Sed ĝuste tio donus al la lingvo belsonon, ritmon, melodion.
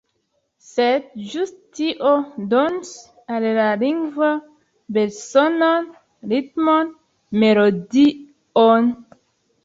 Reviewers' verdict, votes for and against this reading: rejected, 1, 2